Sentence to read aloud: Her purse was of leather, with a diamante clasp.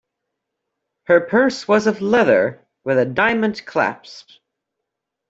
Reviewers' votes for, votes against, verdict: 1, 2, rejected